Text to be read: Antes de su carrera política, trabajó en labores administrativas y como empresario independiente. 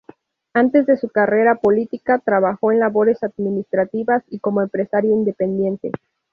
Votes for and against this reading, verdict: 2, 2, rejected